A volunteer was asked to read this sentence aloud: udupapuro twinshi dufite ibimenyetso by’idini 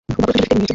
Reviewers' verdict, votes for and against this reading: rejected, 0, 2